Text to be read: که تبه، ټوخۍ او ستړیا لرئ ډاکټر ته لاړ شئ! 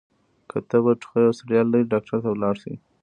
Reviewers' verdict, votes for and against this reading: rejected, 1, 2